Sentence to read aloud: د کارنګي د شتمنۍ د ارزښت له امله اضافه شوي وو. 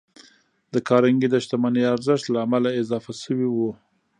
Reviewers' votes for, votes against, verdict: 1, 2, rejected